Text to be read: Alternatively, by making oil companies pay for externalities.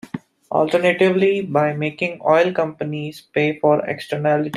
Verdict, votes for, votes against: rejected, 0, 2